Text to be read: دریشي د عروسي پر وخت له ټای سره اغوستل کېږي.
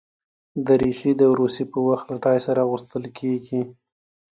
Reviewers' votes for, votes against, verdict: 2, 0, accepted